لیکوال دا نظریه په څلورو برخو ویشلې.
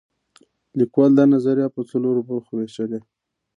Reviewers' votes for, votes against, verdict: 1, 2, rejected